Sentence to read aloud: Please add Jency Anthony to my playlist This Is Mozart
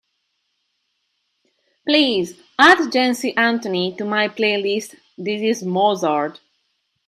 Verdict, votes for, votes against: accepted, 2, 0